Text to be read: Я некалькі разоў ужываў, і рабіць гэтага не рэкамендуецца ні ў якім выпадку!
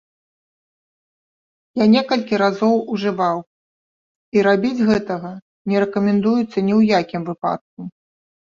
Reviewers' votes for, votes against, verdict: 1, 2, rejected